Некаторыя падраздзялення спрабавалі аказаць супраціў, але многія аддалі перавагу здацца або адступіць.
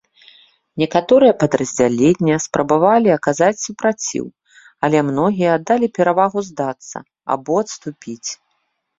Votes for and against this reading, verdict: 0, 2, rejected